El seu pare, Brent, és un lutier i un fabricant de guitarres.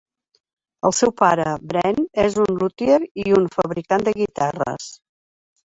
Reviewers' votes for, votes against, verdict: 2, 1, accepted